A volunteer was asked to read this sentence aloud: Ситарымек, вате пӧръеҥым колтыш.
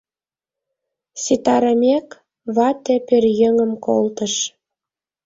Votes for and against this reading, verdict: 2, 0, accepted